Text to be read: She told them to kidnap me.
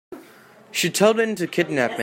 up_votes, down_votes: 0, 2